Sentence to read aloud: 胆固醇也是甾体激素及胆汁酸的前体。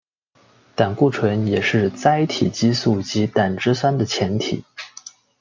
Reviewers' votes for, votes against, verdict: 2, 0, accepted